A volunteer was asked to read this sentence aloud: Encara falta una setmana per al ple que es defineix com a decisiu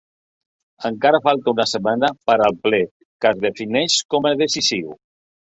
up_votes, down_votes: 0, 2